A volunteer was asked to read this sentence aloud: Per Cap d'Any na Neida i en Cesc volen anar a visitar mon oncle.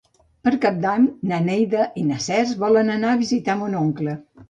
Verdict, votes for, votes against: accepted, 2, 1